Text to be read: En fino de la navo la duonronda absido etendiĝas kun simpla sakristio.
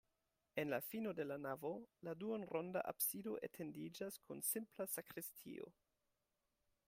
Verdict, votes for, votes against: rejected, 0, 2